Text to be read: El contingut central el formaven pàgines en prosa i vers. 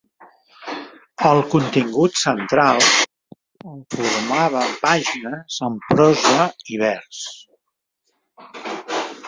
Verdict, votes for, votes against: rejected, 0, 2